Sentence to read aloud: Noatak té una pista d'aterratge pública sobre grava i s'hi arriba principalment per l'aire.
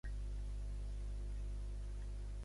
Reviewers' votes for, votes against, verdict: 1, 3, rejected